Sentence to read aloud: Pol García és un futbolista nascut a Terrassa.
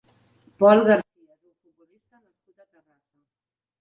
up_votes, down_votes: 0, 2